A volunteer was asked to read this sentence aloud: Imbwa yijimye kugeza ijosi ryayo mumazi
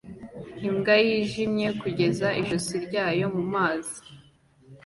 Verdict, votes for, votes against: accepted, 2, 0